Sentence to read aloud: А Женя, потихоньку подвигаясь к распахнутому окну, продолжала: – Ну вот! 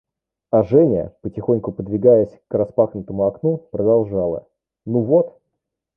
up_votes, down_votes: 2, 1